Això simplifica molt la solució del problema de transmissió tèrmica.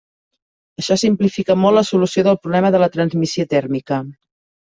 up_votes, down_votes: 1, 2